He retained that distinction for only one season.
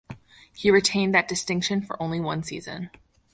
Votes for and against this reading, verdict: 2, 0, accepted